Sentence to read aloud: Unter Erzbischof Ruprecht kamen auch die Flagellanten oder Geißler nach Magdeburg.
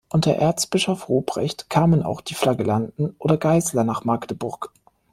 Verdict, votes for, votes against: accepted, 2, 0